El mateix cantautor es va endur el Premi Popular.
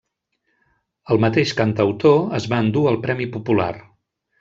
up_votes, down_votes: 1, 2